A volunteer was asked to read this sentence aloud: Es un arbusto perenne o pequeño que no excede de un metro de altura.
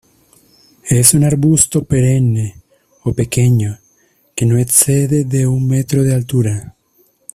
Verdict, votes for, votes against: accepted, 2, 0